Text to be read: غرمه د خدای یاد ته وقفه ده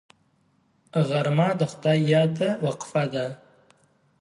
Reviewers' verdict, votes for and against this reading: accepted, 2, 0